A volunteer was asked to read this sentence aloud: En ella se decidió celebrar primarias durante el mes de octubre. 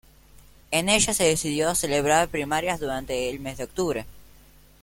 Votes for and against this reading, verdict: 2, 1, accepted